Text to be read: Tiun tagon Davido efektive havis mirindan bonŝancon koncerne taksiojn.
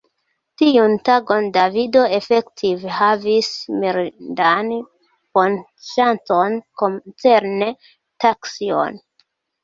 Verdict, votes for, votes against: rejected, 0, 2